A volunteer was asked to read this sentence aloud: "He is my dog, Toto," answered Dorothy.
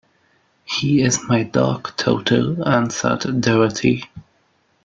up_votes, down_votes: 2, 1